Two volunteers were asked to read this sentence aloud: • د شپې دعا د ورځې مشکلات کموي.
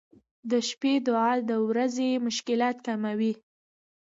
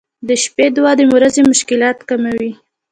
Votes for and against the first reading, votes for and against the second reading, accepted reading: 2, 0, 1, 2, first